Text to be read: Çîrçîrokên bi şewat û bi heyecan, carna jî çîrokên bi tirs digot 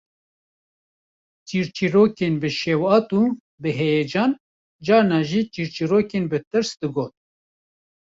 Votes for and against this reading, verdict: 0, 2, rejected